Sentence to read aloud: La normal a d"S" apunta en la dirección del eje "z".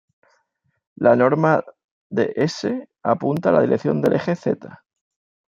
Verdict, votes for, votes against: rejected, 1, 2